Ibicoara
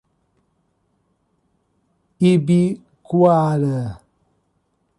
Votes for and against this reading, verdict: 0, 2, rejected